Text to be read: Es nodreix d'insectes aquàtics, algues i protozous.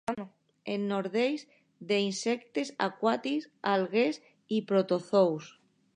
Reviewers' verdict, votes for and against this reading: rejected, 1, 2